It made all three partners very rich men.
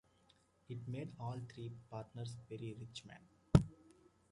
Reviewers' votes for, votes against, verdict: 2, 0, accepted